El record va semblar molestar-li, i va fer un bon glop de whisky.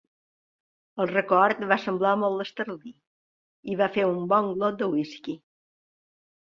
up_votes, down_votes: 1, 2